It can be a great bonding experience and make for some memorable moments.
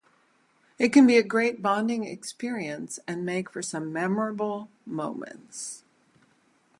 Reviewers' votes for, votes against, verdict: 4, 0, accepted